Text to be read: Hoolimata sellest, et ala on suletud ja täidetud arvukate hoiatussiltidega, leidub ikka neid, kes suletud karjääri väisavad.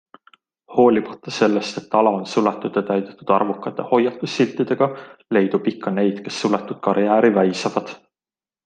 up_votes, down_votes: 2, 0